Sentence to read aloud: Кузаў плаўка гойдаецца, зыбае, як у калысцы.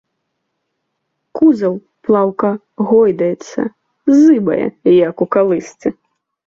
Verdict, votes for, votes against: accepted, 2, 0